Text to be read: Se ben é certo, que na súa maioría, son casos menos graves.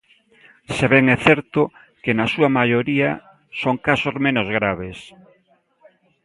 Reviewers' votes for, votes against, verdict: 0, 2, rejected